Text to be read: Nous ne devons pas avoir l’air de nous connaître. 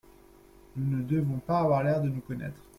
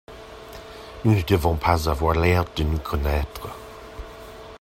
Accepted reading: second